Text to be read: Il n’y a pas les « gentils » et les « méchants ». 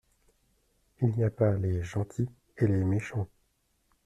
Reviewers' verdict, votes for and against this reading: accepted, 2, 0